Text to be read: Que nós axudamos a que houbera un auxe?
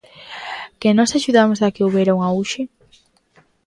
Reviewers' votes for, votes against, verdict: 2, 0, accepted